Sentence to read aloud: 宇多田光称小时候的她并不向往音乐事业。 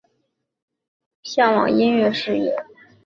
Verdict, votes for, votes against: rejected, 0, 2